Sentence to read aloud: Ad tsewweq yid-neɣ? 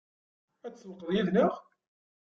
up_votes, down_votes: 0, 2